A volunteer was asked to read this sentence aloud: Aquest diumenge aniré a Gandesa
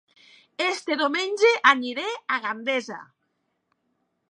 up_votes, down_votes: 1, 2